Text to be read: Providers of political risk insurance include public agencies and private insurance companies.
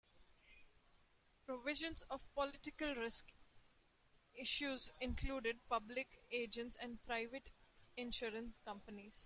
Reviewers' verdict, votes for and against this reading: rejected, 0, 2